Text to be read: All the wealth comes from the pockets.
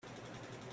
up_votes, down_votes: 0, 3